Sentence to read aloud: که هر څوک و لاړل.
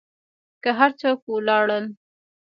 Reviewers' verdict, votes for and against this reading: accepted, 3, 2